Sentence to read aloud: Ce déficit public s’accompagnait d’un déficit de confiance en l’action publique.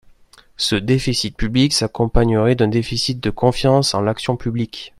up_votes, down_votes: 0, 2